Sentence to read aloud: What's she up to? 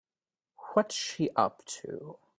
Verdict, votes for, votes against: accepted, 3, 1